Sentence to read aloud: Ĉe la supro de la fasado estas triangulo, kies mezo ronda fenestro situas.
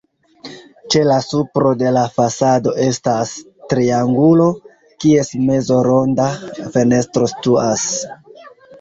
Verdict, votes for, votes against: rejected, 1, 2